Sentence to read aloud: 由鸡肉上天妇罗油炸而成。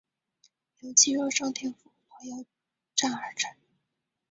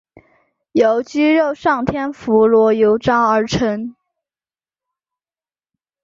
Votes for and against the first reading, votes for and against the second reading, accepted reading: 1, 4, 9, 0, second